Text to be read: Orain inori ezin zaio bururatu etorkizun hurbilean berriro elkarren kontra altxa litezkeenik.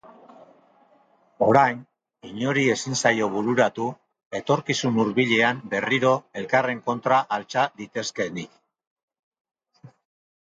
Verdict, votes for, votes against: rejected, 0, 2